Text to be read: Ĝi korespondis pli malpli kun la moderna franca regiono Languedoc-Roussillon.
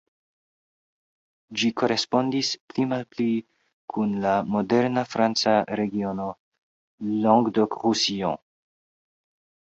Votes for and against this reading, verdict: 0, 2, rejected